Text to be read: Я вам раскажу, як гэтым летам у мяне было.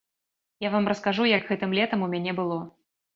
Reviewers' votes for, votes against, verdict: 2, 0, accepted